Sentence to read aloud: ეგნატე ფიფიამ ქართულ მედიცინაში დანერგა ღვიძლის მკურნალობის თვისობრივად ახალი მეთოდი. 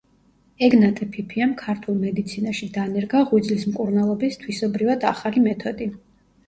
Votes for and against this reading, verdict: 2, 0, accepted